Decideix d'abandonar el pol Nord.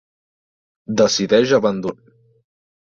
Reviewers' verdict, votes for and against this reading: rejected, 0, 2